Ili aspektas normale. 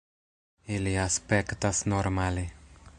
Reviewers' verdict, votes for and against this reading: accepted, 2, 0